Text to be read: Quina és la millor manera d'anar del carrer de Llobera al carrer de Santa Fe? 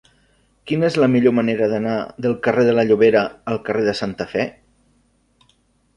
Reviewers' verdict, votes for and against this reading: rejected, 0, 2